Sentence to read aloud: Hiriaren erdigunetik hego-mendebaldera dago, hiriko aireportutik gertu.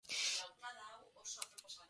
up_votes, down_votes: 0, 4